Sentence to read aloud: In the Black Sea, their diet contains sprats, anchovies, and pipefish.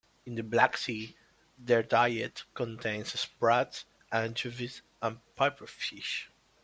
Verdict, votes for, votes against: rejected, 1, 2